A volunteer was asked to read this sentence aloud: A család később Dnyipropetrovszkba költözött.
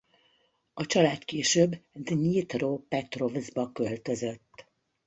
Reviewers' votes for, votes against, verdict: 1, 2, rejected